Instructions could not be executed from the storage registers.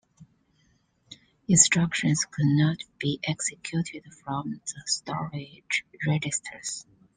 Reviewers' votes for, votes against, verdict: 2, 0, accepted